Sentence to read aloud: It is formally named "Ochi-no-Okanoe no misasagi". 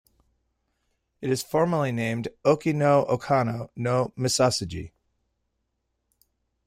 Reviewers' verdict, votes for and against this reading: rejected, 1, 2